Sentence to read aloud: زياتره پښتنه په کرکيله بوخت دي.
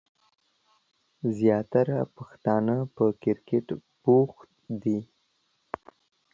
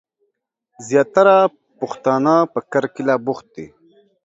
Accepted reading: second